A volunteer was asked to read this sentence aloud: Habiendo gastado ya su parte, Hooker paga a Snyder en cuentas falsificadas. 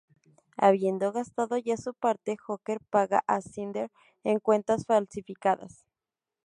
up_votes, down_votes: 0, 2